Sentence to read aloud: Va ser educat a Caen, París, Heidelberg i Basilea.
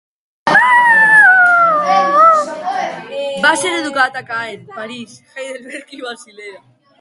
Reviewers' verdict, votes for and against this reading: rejected, 0, 2